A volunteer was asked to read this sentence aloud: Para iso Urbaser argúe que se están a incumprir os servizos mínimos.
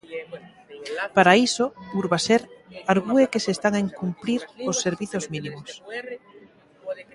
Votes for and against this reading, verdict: 0, 2, rejected